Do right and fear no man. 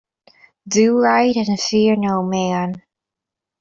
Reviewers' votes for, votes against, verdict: 1, 2, rejected